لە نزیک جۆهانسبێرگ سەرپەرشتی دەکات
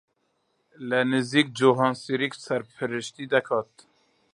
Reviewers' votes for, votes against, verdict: 0, 2, rejected